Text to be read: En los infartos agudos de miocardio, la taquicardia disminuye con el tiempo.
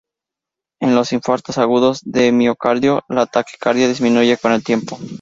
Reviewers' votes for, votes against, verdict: 0, 2, rejected